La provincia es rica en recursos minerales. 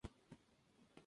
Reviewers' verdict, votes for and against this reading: rejected, 0, 2